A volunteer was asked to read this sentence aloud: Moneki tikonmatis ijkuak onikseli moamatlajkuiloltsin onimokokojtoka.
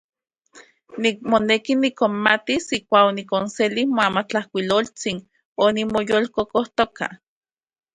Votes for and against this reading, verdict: 0, 4, rejected